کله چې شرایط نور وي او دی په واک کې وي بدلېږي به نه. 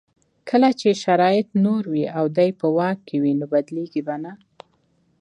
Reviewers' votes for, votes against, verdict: 2, 0, accepted